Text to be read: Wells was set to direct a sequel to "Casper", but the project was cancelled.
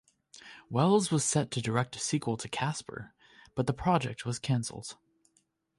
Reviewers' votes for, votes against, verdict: 2, 0, accepted